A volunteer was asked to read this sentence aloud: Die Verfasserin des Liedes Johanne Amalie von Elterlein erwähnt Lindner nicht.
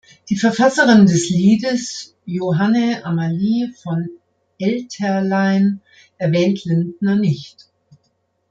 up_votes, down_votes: 2, 0